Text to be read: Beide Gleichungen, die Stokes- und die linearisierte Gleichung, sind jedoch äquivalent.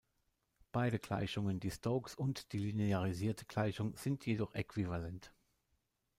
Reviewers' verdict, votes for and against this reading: rejected, 0, 2